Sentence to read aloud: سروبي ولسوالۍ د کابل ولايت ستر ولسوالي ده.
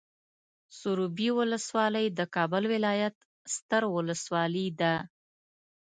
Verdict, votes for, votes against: accepted, 2, 0